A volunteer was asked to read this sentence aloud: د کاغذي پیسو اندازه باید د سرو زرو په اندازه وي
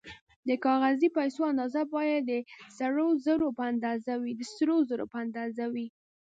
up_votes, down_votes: 1, 2